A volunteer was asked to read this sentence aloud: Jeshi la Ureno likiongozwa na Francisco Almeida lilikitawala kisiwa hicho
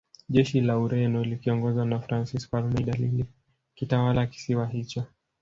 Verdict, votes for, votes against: rejected, 0, 2